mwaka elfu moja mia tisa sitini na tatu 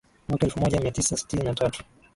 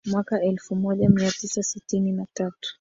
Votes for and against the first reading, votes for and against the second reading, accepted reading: 2, 1, 0, 2, first